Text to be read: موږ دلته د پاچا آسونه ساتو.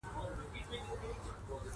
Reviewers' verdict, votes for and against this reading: rejected, 0, 2